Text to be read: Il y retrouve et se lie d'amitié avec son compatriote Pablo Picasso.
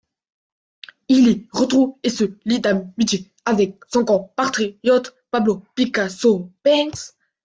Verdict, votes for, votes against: rejected, 0, 3